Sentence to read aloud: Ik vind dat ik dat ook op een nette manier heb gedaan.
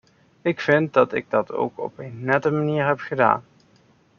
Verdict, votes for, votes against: accepted, 2, 0